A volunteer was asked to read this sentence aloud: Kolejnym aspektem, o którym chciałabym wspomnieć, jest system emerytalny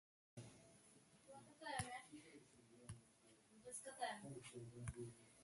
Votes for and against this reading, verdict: 0, 2, rejected